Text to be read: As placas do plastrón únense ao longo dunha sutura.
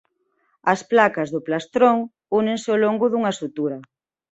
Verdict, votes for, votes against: accepted, 2, 0